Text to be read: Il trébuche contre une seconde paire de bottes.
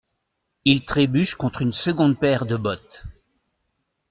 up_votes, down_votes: 2, 0